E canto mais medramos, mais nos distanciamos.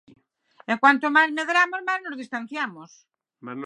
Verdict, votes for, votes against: rejected, 0, 6